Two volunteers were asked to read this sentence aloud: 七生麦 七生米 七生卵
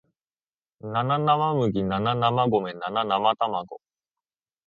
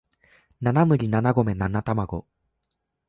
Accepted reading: first